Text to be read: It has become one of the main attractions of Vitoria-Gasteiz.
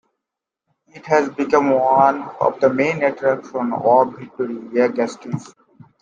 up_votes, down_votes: 1, 2